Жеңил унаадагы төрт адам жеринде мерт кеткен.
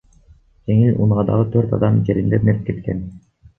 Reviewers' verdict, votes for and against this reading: rejected, 1, 2